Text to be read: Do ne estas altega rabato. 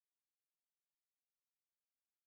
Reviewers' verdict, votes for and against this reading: rejected, 0, 2